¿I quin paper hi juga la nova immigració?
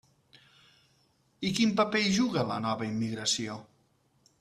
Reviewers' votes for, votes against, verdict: 3, 0, accepted